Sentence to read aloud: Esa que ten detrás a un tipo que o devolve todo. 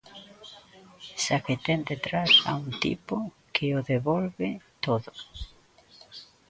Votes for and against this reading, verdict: 1, 2, rejected